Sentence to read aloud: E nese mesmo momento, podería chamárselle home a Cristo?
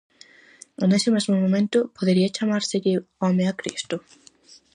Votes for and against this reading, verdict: 4, 0, accepted